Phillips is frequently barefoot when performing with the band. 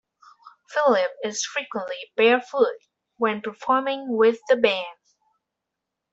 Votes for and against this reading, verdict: 1, 2, rejected